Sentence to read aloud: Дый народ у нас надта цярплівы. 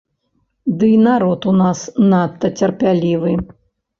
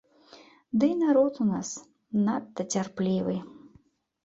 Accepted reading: second